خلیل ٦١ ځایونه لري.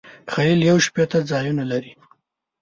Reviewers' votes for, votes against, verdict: 0, 2, rejected